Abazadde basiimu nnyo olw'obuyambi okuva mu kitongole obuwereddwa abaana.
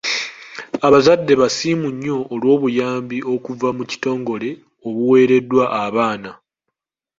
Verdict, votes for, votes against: accepted, 2, 0